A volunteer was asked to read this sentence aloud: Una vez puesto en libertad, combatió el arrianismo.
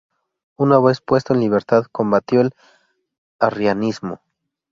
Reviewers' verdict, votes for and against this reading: rejected, 0, 2